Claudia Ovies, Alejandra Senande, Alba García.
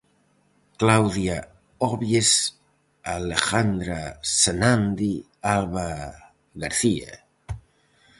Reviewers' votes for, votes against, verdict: 4, 0, accepted